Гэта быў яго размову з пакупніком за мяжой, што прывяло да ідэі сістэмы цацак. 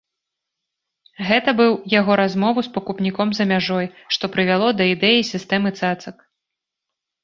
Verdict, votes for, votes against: rejected, 1, 2